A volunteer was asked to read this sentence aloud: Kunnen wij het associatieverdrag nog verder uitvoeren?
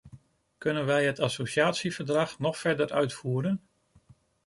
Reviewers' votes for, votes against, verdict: 2, 0, accepted